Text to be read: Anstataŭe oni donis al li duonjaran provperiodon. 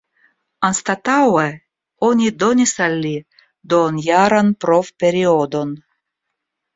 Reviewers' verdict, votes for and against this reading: rejected, 0, 2